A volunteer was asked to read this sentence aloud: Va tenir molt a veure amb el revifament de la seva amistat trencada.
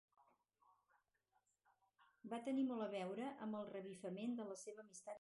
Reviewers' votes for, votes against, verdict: 0, 6, rejected